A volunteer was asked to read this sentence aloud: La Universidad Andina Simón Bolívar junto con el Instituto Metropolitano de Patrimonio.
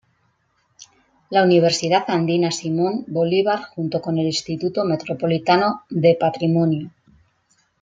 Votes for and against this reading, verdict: 2, 0, accepted